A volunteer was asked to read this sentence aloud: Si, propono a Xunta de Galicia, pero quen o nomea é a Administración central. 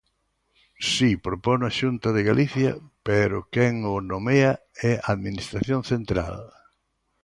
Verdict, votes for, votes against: accepted, 3, 0